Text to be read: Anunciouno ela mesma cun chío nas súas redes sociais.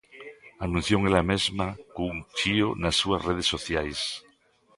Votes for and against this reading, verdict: 0, 2, rejected